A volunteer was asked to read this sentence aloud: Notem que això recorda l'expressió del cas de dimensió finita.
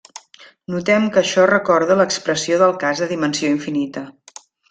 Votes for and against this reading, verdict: 1, 2, rejected